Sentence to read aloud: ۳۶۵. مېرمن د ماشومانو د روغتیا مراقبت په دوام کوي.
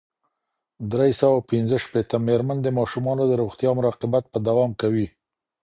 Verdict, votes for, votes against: rejected, 0, 2